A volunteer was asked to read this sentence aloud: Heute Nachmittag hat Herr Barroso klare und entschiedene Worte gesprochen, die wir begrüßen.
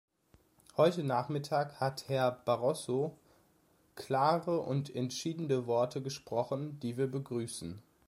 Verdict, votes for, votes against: rejected, 1, 2